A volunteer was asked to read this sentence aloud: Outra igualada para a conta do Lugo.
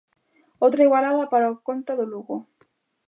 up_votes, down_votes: 0, 2